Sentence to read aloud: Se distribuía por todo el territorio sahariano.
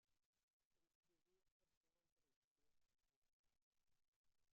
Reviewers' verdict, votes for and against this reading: rejected, 0, 2